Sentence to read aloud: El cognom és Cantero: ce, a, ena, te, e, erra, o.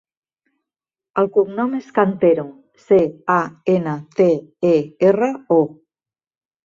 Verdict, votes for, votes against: rejected, 1, 2